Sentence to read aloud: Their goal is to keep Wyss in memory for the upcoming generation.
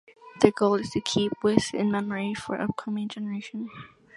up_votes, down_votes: 2, 0